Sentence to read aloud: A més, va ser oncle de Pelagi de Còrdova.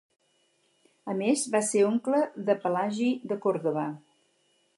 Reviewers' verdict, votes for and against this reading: accepted, 4, 0